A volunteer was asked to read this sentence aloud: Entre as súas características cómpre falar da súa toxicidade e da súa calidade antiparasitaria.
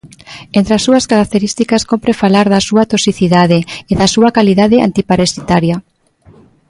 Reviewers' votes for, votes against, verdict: 2, 0, accepted